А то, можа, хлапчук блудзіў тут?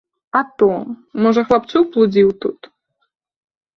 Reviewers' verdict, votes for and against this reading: accepted, 3, 0